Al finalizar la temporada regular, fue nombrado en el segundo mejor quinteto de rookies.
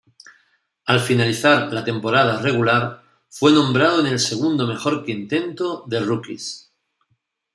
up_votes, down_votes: 0, 2